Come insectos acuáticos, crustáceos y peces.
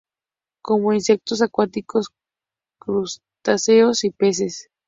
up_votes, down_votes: 2, 0